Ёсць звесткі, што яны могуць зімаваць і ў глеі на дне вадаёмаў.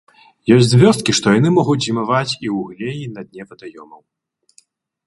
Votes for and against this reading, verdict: 0, 2, rejected